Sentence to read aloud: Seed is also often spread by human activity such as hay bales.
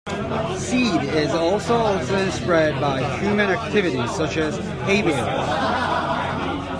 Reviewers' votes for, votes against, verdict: 0, 2, rejected